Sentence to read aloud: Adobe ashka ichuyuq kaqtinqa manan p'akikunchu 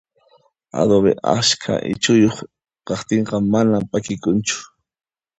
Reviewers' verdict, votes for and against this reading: accepted, 2, 0